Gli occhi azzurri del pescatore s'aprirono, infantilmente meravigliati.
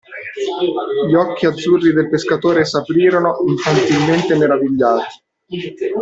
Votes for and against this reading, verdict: 0, 2, rejected